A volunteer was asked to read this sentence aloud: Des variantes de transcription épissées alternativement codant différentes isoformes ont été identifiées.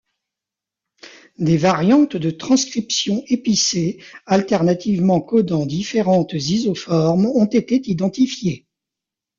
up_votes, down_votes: 2, 0